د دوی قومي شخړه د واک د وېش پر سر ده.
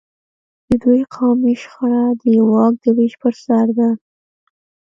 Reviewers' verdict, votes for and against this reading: rejected, 1, 2